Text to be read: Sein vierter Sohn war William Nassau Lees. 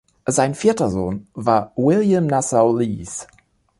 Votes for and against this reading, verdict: 2, 0, accepted